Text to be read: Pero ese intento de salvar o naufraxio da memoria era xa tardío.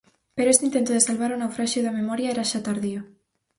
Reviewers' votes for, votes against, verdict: 2, 2, rejected